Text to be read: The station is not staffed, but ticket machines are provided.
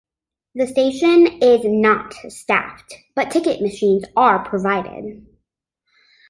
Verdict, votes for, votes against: accepted, 2, 0